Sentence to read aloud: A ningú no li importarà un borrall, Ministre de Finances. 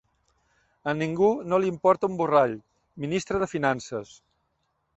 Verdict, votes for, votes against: rejected, 0, 2